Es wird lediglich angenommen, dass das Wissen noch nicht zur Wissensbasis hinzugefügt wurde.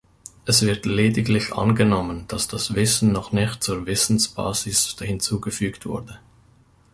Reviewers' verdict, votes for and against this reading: rejected, 1, 2